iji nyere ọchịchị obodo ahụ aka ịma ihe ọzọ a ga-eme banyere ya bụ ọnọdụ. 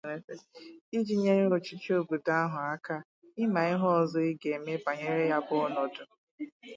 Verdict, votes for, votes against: rejected, 2, 2